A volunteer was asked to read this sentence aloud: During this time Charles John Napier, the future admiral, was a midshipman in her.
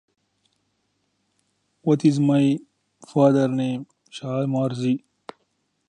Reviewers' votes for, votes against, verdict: 0, 2, rejected